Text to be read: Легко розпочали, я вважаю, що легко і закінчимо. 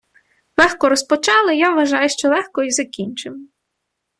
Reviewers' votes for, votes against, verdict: 2, 0, accepted